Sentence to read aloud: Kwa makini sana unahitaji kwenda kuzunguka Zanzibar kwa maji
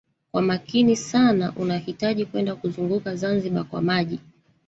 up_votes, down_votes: 1, 2